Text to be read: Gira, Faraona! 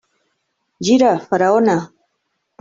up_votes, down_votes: 2, 0